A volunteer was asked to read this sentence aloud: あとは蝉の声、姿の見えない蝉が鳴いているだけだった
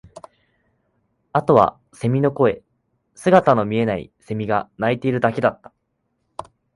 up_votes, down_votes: 2, 0